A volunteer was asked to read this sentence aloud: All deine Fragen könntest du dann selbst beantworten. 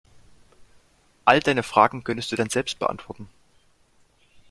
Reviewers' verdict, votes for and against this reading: accepted, 2, 0